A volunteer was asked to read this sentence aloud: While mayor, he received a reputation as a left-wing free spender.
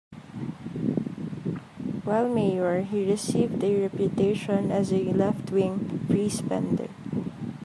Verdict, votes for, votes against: rejected, 1, 2